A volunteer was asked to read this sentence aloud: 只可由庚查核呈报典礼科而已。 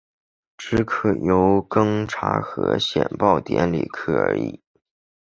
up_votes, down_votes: 0, 2